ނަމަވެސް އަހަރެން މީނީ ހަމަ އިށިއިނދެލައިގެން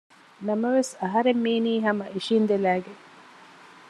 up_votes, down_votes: 2, 0